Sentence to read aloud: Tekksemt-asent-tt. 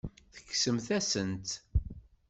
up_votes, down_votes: 1, 2